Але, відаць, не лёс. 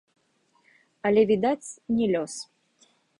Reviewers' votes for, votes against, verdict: 2, 1, accepted